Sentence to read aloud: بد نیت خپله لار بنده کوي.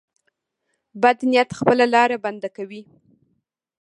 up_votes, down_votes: 2, 0